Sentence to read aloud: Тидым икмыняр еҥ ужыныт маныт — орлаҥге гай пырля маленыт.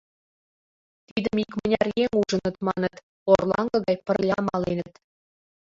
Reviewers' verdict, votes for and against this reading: rejected, 2, 3